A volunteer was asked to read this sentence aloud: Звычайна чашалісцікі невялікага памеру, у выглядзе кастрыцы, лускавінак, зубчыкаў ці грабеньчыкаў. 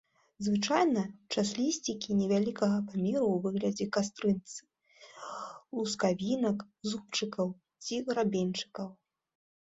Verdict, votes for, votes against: rejected, 1, 3